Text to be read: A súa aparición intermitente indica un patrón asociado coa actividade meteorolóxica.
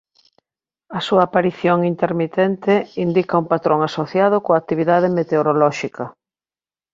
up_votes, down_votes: 2, 0